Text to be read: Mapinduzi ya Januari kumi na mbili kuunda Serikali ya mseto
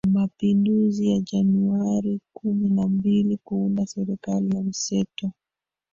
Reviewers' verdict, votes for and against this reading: rejected, 1, 2